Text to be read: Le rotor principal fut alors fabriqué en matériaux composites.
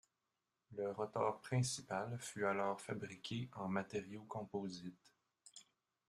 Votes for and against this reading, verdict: 1, 2, rejected